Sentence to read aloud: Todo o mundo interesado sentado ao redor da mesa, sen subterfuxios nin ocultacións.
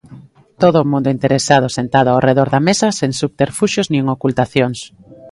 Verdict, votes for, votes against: accepted, 5, 1